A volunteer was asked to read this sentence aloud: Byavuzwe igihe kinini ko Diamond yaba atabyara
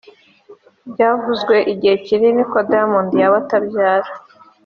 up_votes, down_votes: 3, 0